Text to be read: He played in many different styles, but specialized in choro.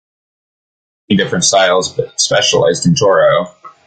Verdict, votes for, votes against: rejected, 1, 2